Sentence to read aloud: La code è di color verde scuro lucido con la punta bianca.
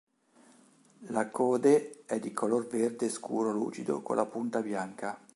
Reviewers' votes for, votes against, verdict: 2, 0, accepted